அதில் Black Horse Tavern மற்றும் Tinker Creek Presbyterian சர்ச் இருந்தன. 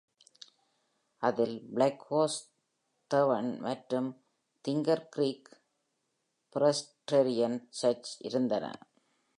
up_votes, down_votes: 1, 2